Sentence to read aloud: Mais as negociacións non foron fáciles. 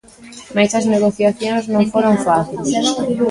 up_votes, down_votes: 0, 2